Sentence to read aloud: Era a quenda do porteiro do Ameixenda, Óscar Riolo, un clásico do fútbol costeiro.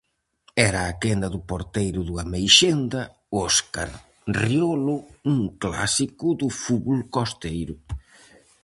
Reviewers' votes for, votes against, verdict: 4, 0, accepted